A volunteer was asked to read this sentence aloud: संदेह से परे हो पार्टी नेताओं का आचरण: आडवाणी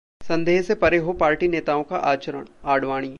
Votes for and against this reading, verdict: 2, 0, accepted